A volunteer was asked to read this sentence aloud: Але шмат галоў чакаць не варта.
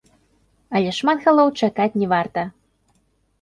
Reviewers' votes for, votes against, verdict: 1, 2, rejected